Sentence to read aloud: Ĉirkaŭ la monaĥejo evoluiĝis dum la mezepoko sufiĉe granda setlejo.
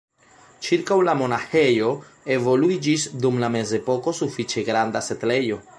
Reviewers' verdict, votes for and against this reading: rejected, 1, 2